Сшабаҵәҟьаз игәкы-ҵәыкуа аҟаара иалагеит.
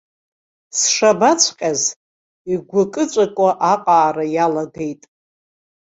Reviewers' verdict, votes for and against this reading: accepted, 2, 0